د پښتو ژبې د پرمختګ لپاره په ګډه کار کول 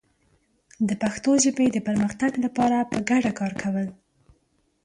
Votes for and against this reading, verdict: 2, 0, accepted